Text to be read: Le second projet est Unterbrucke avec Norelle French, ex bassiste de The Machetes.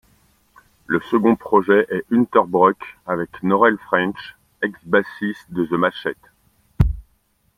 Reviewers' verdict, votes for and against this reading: rejected, 0, 2